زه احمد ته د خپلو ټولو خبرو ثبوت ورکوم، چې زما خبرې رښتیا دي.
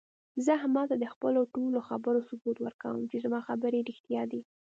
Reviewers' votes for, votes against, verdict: 2, 0, accepted